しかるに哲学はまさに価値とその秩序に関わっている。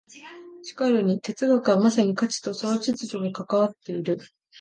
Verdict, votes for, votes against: accepted, 2, 0